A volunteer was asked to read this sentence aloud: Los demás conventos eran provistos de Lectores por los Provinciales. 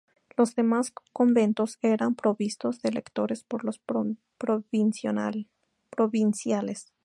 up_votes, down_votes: 0, 2